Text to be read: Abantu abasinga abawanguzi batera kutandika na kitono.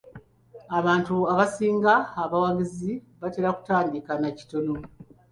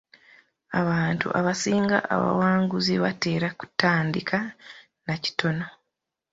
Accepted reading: second